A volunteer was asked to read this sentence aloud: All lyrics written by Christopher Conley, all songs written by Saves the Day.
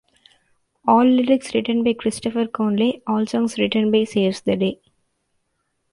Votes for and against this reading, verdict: 2, 1, accepted